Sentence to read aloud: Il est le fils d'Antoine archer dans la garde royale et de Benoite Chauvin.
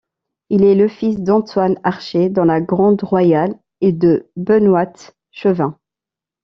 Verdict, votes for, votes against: rejected, 0, 2